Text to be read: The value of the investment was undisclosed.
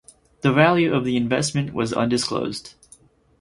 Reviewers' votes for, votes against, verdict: 4, 0, accepted